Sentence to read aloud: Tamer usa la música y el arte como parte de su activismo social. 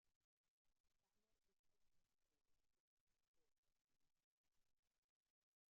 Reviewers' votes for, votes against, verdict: 0, 2, rejected